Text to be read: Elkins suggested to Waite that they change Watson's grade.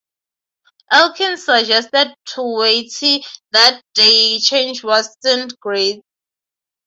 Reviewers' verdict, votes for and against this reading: rejected, 3, 3